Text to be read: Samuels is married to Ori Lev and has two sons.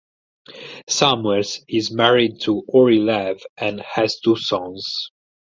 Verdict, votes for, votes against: accepted, 4, 2